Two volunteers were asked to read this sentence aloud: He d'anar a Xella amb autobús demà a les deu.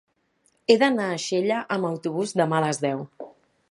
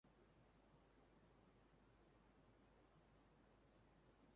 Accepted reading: first